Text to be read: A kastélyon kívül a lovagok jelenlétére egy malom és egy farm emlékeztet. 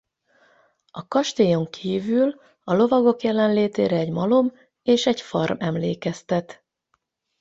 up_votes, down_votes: 4, 4